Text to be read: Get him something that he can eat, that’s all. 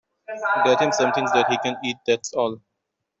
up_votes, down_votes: 0, 2